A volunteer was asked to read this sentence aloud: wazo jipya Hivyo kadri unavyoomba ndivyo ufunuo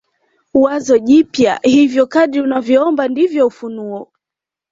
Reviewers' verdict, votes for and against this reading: accepted, 2, 0